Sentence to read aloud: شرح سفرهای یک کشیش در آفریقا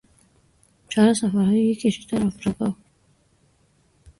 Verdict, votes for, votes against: rejected, 0, 2